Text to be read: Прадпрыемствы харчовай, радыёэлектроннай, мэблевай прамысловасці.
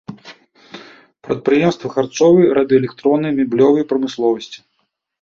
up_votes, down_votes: 0, 2